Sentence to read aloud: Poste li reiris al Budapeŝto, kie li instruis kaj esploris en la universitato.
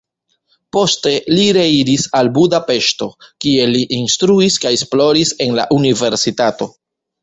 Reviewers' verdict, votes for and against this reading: rejected, 1, 2